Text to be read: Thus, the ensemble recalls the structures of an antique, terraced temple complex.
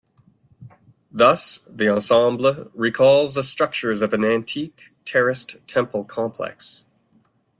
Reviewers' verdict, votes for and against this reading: rejected, 0, 2